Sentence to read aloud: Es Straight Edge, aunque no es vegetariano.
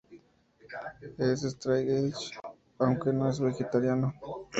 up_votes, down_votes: 2, 0